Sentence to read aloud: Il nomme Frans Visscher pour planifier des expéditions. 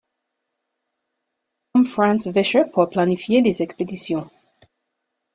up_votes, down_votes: 0, 2